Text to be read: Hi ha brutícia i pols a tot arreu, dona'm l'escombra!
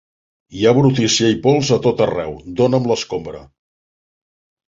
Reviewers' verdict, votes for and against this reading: accepted, 5, 0